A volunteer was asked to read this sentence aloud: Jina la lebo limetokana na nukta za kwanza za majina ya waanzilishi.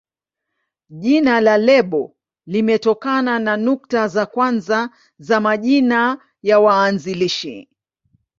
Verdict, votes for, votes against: accepted, 2, 0